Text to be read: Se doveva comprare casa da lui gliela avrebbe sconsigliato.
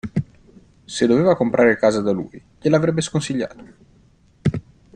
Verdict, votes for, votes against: accepted, 2, 0